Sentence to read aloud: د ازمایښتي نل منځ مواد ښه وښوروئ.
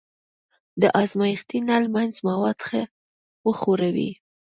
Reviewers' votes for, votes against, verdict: 2, 0, accepted